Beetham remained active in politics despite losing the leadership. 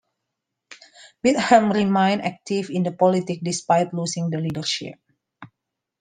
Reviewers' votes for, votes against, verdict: 2, 1, accepted